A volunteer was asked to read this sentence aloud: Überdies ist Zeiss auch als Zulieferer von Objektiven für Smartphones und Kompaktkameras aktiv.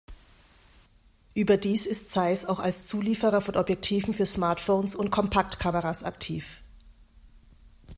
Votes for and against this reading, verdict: 2, 0, accepted